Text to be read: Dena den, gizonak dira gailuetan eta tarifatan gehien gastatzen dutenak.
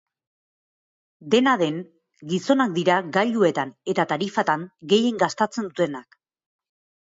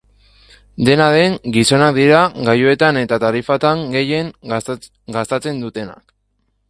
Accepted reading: first